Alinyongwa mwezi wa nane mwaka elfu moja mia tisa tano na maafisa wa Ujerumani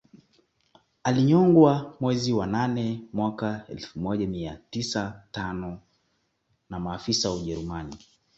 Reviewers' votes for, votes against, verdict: 2, 0, accepted